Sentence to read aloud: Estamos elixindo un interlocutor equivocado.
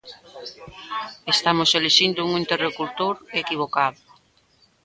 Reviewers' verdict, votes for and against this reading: rejected, 0, 2